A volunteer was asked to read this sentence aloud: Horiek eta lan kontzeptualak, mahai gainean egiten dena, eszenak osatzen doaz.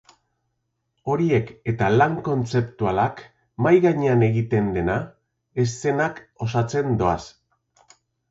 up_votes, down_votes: 3, 0